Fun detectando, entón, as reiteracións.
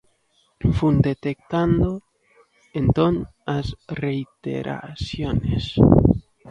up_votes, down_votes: 0, 2